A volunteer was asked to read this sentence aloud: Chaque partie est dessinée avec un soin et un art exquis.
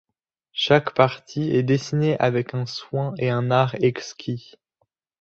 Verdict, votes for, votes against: accepted, 2, 0